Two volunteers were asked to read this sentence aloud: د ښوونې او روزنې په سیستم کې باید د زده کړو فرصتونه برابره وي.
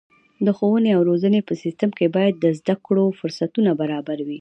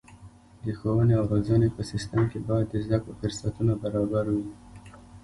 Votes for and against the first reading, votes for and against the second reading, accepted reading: 2, 0, 0, 2, first